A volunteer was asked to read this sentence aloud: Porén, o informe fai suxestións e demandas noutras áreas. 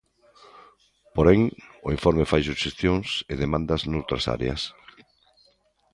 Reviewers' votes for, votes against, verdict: 2, 0, accepted